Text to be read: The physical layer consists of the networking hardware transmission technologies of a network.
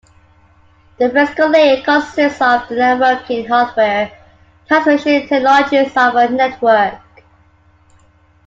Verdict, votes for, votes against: rejected, 0, 2